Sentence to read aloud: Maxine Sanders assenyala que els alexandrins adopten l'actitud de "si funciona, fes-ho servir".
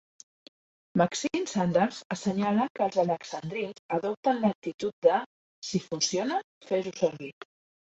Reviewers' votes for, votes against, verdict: 1, 2, rejected